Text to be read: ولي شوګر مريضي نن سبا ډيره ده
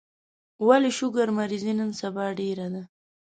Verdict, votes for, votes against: accepted, 2, 0